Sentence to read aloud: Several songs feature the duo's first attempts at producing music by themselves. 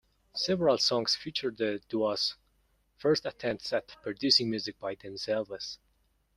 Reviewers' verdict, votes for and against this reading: rejected, 1, 2